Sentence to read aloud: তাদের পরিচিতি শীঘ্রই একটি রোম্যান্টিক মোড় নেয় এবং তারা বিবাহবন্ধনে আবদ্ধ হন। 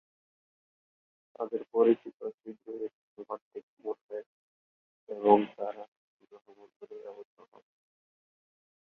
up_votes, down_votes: 0, 4